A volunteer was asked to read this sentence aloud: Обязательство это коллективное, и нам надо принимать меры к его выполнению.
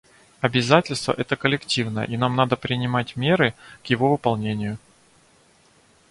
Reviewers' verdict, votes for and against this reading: accepted, 2, 0